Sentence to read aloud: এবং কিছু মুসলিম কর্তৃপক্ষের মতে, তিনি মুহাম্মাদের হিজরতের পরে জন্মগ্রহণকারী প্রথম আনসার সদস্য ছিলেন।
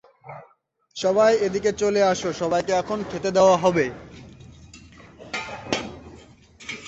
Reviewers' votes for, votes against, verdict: 0, 2, rejected